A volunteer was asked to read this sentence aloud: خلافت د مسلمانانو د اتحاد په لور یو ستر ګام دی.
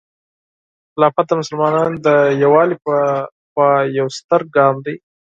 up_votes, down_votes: 0, 4